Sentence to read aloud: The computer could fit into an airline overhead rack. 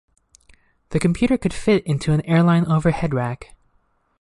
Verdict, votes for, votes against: accepted, 2, 0